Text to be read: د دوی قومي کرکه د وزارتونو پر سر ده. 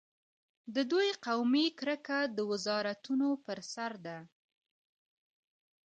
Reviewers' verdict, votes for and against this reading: accepted, 2, 0